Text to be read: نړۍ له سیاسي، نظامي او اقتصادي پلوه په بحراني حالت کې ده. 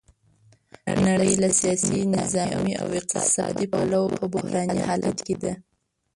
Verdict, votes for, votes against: rejected, 0, 2